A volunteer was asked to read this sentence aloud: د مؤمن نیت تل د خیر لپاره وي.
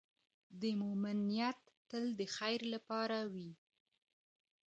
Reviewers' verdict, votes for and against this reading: rejected, 1, 2